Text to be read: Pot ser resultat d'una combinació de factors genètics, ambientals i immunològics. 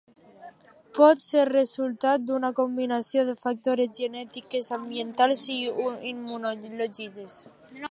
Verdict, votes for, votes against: rejected, 0, 2